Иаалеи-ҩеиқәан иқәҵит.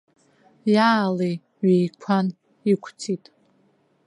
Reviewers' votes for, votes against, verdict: 1, 2, rejected